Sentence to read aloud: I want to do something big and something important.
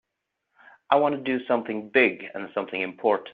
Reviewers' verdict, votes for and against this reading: rejected, 1, 3